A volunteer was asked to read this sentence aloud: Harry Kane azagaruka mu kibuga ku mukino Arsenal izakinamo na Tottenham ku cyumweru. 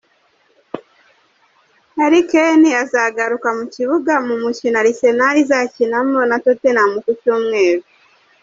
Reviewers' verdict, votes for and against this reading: rejected, 1, 2